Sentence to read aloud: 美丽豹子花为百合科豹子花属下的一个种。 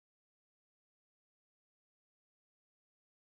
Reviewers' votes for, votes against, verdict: 0, 3, rejected